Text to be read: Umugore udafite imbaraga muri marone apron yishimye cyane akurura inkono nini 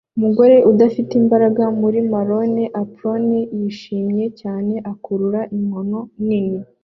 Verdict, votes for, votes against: accepted, 2, 0